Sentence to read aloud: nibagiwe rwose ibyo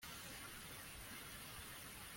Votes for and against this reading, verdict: 1, 2, rejected